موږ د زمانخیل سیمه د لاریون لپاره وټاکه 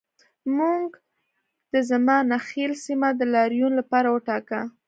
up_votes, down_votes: 2, 0